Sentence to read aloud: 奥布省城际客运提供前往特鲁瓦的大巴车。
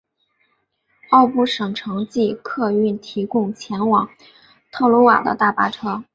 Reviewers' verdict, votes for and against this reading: accepted, 8, 0